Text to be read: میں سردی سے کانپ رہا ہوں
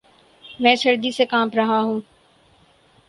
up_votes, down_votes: 4, 0